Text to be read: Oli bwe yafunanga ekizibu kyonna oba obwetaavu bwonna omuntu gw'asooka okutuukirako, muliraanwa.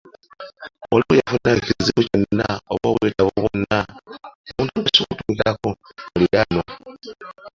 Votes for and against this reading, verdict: 0, 2, rejected